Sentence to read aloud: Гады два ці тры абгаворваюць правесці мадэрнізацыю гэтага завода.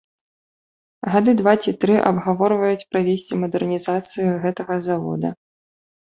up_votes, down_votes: 2, 0